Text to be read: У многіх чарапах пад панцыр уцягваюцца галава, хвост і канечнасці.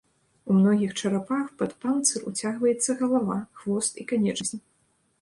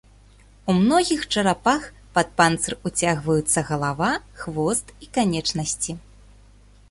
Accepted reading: second